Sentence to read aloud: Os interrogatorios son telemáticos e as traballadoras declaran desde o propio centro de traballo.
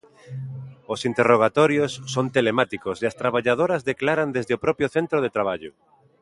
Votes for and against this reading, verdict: 2, 0, accepted